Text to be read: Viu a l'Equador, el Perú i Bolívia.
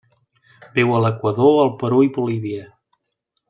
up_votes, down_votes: 2, 0